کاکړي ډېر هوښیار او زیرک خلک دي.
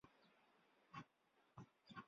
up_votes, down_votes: 0, 3